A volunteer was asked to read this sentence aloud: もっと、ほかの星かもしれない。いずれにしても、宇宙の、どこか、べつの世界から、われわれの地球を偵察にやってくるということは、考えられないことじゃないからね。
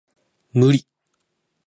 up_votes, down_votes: 0, 2